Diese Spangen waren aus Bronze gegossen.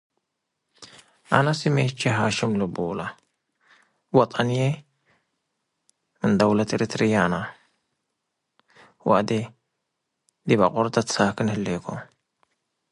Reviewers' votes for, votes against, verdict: 0, 2, rejected